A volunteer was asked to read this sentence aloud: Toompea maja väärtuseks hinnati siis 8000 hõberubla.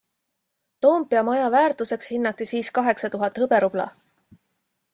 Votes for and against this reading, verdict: 0, 2, rejected